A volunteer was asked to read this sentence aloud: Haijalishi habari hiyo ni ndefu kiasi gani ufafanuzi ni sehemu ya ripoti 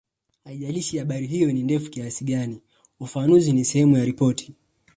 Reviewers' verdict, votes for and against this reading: rejected, 1, 2